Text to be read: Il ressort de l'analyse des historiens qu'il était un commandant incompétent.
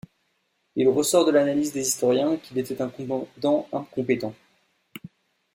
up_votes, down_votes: 1, 2